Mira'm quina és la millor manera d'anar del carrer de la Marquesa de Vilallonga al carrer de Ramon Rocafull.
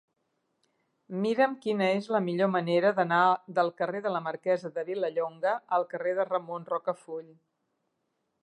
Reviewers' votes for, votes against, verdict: 2, 0, accepted